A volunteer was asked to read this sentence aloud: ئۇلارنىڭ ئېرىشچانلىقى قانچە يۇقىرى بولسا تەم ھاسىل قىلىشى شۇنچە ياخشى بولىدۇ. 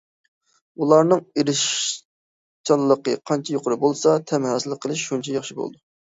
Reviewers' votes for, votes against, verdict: 0, 2, rejected